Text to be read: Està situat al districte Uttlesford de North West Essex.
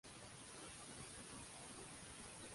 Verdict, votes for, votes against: rejected, 1, 2